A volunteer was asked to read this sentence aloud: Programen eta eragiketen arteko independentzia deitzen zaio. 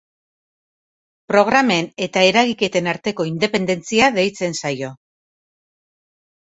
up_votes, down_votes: 2, 0